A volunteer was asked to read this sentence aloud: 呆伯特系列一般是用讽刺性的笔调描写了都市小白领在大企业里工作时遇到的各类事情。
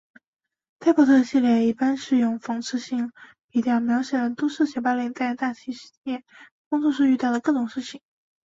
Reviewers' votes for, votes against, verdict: 1, 2, rejected